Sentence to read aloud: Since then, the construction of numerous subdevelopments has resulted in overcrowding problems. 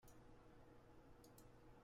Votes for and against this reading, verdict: 0, 2, rejected